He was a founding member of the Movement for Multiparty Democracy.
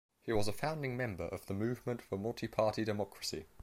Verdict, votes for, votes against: accepted, 2, 0